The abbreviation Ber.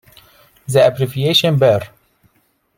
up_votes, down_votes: 2, 0